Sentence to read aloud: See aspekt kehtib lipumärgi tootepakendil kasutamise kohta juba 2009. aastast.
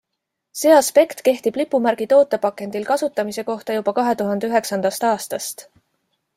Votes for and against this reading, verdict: 0, 2, rejected